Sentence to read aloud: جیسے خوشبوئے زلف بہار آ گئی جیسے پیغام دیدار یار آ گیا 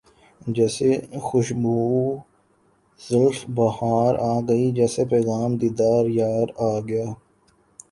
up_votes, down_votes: 2, 0